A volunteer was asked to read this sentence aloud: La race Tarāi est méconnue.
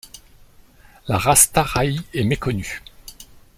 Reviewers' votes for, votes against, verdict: 2, 1, accepted